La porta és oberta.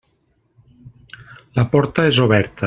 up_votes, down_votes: 1, 2